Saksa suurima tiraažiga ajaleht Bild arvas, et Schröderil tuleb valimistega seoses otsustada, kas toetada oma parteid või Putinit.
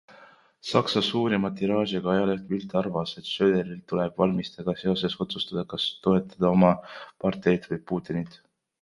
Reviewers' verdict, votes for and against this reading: accepted, 2, 0